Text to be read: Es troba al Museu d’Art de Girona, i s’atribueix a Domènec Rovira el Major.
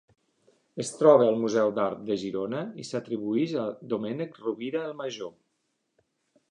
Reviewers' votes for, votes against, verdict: 2, 0, accepted